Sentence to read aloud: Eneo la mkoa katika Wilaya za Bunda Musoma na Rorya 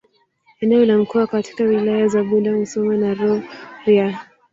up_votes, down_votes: 2, 3